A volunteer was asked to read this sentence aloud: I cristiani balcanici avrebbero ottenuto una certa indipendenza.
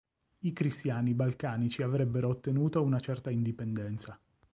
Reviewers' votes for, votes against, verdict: 2, 0, accepted